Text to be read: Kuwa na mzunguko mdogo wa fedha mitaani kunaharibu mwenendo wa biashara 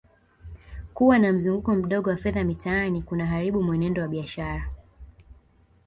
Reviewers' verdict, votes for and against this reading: accepted, 2, 0